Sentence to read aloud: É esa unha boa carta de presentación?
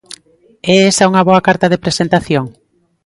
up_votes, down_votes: 2, 0